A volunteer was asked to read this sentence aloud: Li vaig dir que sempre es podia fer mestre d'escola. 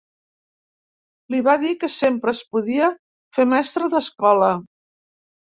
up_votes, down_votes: 0, 2